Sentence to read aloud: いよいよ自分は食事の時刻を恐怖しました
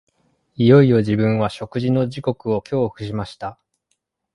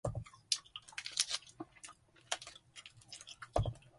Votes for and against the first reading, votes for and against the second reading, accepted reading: 2, 0, 0, 2, first